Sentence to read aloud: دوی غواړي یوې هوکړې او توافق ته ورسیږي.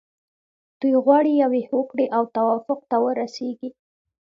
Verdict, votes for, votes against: rejected, 1, 2